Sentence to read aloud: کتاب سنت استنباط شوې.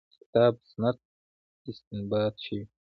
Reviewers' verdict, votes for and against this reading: accepted, 3, 0